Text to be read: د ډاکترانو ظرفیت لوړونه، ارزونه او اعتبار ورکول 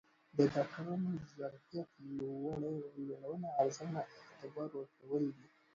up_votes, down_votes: 1, 2